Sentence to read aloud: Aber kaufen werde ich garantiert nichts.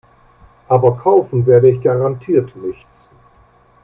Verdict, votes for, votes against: accepted, 2, 0